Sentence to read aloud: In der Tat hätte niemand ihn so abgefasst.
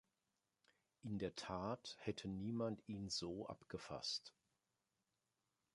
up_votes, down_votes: 2, 0